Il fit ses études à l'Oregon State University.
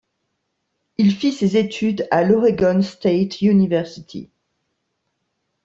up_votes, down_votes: 2, 0